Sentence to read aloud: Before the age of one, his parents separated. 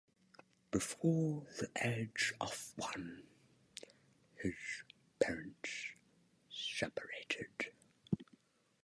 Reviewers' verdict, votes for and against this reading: rejected, 1, 2